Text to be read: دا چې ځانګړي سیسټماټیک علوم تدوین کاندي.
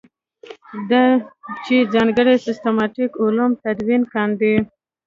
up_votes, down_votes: 1, 2